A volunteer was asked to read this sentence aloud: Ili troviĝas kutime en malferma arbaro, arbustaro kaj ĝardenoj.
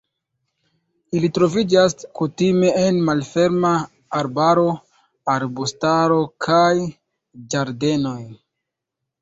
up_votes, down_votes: 1, 2